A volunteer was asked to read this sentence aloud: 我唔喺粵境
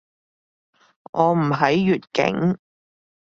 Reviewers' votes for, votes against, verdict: 2, 0, accepted